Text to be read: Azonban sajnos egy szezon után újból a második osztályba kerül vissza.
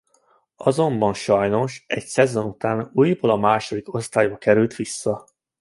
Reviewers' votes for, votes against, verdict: 2, 1, accepted